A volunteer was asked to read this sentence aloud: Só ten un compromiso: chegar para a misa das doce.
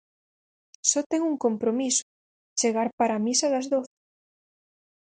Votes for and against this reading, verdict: 0, 4, rejected